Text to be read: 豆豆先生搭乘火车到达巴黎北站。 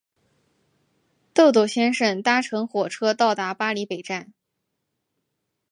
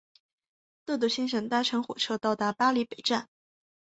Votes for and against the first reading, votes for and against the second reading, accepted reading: 2, 3, 2, 0, second